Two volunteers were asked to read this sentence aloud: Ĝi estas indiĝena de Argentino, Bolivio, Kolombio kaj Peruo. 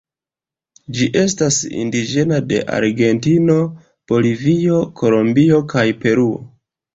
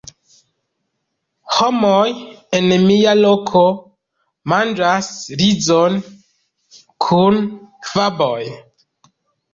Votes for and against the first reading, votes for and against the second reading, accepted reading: 2, 0, 0, 2, first